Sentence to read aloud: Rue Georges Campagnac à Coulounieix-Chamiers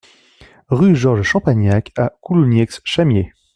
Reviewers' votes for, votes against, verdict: 1, 2, rejected